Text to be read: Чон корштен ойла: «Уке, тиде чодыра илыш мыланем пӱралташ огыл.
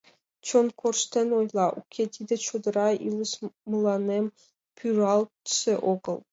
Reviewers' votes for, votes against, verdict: 1, 2, rejected